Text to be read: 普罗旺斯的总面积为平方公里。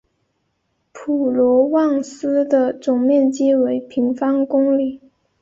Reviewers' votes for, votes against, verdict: 9, 0, accepted